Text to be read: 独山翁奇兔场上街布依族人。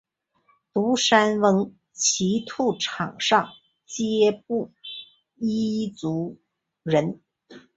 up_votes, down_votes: 4, 5